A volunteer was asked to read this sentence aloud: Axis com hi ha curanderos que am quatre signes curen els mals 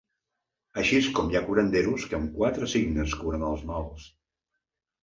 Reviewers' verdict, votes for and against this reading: rejected, 0, 2